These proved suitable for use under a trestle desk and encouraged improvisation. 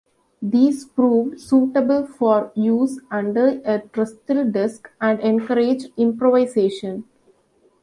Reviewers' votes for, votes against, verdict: 2, 0, accepted